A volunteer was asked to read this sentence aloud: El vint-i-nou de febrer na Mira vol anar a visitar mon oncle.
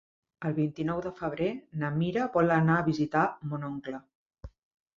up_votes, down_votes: 3, 0